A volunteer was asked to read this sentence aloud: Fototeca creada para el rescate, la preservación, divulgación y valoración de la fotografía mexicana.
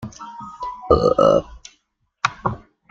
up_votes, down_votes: 0, 2